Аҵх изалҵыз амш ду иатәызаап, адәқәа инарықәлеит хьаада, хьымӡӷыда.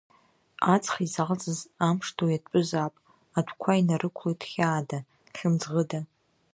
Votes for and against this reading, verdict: 1, 2, rejected